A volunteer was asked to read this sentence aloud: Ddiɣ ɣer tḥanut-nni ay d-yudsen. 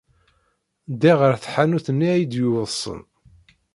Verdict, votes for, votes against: rejected, 1, 2